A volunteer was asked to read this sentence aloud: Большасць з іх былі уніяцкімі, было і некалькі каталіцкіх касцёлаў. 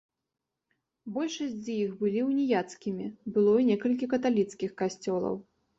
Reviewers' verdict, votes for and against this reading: accepted, 2, 0